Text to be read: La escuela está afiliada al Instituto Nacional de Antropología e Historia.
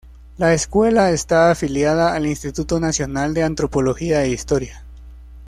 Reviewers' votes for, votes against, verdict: 2, 0, accepted